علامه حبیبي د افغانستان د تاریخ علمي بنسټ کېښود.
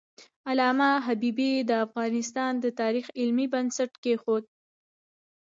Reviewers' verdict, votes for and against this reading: accepted, 2, 1